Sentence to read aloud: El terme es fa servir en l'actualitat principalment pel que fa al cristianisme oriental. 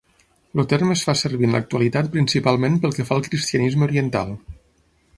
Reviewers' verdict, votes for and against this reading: rejected, 0, 6